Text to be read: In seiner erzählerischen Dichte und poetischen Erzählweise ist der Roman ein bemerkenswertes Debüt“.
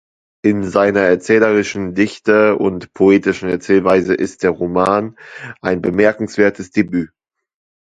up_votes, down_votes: 2, 0